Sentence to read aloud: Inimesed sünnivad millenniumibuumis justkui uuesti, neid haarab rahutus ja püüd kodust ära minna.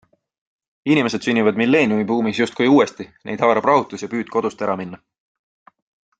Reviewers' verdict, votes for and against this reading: accepted, 2, 0